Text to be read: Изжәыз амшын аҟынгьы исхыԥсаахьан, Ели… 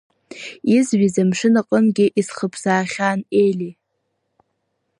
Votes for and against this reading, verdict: 1, 2, rejected